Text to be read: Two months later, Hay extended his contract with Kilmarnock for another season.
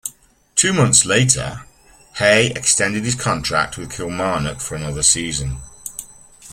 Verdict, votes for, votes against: accepted, 3, 0